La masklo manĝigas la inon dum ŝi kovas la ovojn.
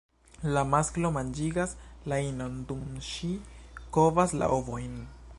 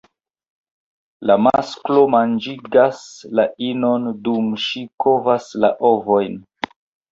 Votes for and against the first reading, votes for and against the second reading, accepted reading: 1, 2, 2, 0, second